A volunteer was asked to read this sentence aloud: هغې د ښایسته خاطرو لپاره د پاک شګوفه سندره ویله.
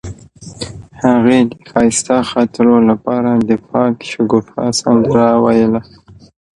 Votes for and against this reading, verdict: 0, 2, rejected